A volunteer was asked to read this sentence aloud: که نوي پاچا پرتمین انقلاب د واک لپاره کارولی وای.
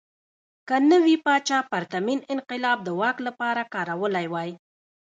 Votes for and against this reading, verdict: 0, 2, rejected